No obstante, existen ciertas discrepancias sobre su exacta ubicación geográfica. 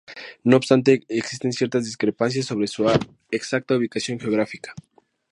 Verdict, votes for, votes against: rejected, 2, 2